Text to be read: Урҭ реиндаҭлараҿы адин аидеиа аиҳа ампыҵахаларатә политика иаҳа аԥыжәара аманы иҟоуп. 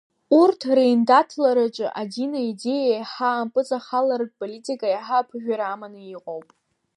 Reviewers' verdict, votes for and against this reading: accepted, 2, 0